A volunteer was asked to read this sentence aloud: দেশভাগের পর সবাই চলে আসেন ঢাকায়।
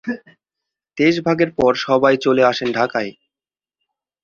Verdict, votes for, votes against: accepted, 2, 0